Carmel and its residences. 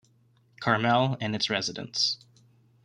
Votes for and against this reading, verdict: 0, 2, rejected